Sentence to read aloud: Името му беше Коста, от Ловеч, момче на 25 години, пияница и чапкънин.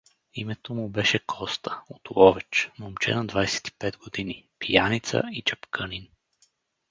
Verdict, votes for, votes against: rejected, 0, 2